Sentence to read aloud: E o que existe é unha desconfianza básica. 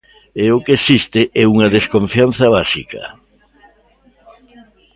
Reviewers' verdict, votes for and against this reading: rejected, 1, 2